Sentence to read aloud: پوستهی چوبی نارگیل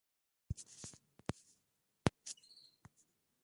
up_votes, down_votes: 0, 2